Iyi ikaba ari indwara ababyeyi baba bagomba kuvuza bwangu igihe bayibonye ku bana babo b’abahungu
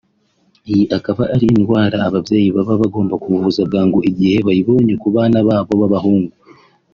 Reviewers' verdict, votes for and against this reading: accepted, 2, 0